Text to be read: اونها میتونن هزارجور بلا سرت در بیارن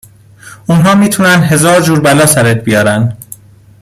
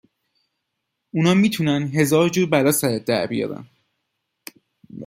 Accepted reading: second